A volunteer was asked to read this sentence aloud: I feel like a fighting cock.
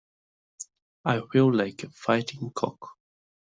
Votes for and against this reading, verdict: 2, 0, accepted